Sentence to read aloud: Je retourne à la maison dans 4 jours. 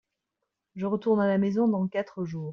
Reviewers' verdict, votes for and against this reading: rejected, 0, 2